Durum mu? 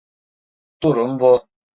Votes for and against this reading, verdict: 1, 2, rejected